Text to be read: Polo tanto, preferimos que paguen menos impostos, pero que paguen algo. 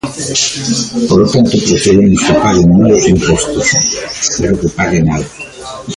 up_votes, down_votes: 0, 2